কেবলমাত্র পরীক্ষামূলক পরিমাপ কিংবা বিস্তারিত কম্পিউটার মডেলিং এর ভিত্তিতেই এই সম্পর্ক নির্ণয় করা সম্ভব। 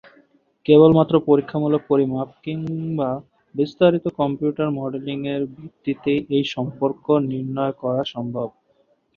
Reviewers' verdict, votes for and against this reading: accepted, 2, 0